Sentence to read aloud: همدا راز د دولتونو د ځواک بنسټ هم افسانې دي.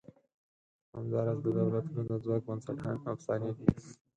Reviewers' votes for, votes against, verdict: 2, 4, rejected